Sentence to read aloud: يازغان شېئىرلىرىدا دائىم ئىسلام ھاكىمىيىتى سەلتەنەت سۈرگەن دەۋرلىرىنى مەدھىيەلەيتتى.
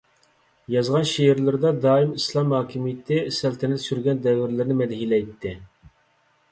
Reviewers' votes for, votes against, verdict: 2, 0, accepted